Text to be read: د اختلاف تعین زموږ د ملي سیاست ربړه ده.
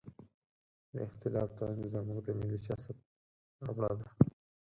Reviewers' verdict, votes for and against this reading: rejected, 0, 4